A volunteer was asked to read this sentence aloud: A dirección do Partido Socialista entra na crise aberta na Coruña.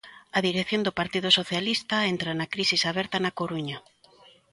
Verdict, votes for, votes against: rejected, 0, 2